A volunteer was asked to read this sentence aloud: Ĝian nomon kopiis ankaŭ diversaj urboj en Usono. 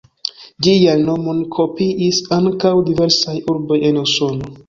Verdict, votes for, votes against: rejected, 0, 2